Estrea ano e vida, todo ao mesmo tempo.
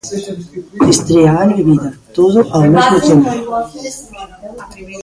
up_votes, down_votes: 0, 2